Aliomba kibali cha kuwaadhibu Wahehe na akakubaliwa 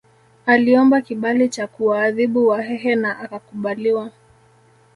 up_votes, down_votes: 0, 2